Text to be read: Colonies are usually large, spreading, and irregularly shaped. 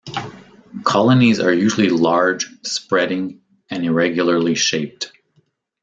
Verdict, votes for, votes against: accepted, 2, 0